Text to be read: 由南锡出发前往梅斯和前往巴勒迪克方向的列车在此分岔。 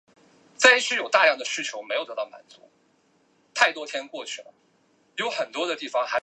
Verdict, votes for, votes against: rejected, 0, 2